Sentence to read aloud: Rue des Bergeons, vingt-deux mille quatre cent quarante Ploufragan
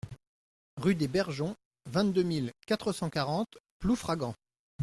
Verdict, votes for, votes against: accepted, 2, 0